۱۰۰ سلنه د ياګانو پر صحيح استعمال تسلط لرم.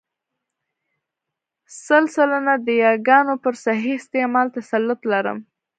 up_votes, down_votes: 0, 2